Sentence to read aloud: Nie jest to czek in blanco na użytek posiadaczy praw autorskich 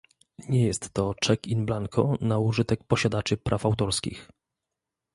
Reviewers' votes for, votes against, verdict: 2, 0, accepted